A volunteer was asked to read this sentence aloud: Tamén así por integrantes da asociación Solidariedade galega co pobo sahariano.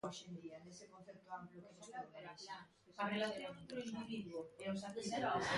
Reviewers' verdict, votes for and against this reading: rejected, 0, 2